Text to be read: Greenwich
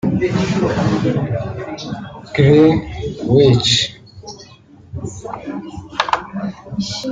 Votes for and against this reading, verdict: 0, 3, rejected